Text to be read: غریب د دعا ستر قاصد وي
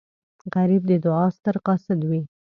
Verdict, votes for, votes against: accepted, 2, 0